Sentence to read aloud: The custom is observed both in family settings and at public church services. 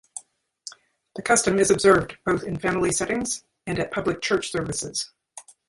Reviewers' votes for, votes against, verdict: 1, 2, rejected